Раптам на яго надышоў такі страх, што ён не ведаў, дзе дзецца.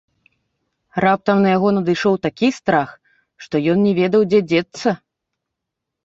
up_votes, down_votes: 2, 0